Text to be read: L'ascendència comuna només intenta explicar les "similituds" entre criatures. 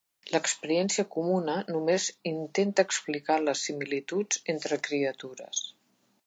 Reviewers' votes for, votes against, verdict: 0, 2, rejected